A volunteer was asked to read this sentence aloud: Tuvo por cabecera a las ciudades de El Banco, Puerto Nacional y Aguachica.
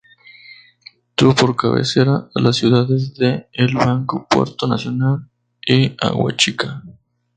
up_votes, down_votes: 2, 0